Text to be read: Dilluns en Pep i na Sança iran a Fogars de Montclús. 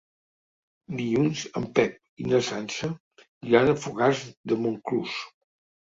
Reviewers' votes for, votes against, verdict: 4, 0, accepted